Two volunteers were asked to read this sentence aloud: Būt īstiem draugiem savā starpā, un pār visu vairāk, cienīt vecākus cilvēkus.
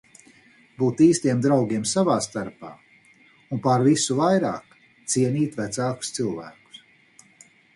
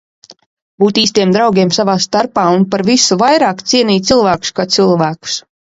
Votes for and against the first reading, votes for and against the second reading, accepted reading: 4, 0, 0, 2, first